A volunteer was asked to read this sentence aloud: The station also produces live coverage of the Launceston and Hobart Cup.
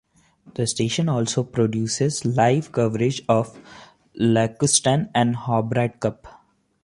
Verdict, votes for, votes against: rejected, 2, 3